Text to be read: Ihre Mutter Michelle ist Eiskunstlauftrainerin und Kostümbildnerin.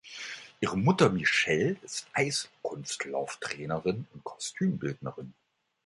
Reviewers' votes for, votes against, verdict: 2, 3, rejected